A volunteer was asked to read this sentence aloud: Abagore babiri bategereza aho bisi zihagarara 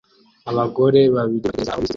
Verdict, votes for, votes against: rejected, 0, 3